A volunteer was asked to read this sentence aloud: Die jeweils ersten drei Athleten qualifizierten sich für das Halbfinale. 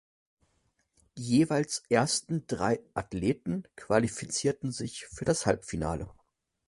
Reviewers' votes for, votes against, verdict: 0, 2, rejected